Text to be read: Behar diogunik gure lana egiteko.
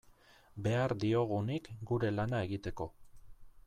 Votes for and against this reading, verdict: 2, 0, accepted